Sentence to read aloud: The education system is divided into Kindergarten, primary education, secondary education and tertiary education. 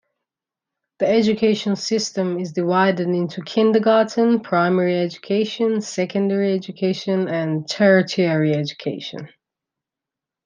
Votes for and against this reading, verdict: 2, 0, accepted